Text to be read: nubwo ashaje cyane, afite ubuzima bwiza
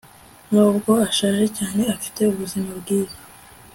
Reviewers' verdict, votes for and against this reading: accepted, 2, 0